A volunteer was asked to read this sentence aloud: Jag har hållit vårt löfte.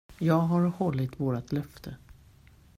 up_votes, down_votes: 1, 2